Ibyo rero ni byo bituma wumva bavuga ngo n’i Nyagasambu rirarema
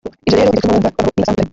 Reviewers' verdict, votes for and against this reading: rejected, 0, 2